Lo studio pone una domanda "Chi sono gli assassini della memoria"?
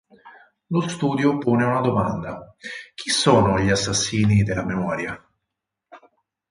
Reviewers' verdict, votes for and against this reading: accepted, 4, 0